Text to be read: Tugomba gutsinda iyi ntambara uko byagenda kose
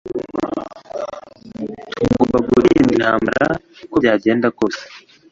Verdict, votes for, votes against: rejected, 1, 2